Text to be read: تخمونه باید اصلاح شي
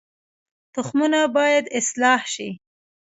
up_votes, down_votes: 1, 2